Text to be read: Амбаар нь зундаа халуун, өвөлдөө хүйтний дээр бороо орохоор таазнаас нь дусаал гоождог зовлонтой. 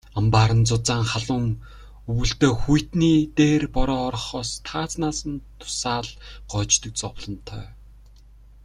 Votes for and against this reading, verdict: 0, 2, rejected